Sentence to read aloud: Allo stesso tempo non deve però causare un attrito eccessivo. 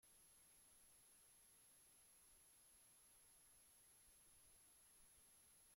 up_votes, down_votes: 0, 2